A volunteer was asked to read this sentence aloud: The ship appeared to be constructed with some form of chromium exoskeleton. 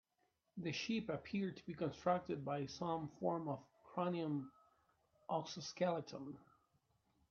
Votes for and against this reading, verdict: 0, 2, rejected